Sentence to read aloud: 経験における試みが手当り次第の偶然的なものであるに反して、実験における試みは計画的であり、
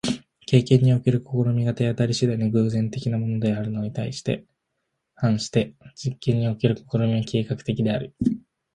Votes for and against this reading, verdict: 0, 2, rejected